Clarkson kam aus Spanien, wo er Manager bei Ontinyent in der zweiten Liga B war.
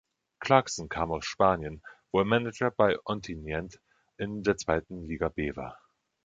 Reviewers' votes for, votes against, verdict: 2, 0, accepted